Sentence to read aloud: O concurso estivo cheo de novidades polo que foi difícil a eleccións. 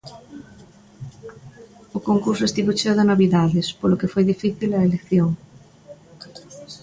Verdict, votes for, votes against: rejected, 0, 2